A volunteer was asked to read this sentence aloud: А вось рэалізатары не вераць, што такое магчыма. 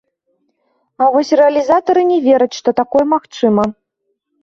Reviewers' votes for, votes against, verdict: 2, 0, accepted